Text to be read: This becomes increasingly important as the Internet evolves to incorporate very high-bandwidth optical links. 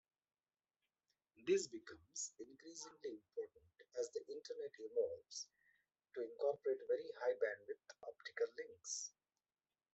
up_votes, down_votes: 1, 2